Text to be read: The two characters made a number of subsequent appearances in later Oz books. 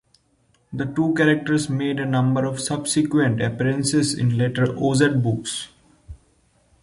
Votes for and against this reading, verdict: 2, 0, accepted